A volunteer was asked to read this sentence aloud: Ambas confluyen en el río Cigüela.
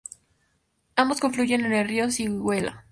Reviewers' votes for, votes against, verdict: 0, 2, rejected